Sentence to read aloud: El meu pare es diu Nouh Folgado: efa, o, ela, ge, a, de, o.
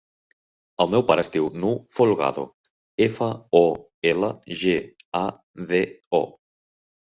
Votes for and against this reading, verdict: 2, 0, accepted